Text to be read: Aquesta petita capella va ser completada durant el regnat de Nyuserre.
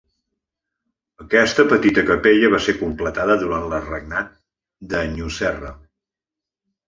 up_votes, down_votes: 1, 2